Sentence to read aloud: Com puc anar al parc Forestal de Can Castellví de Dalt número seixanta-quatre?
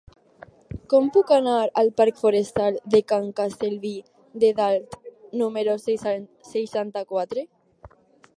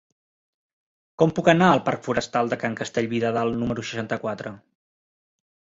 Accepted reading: second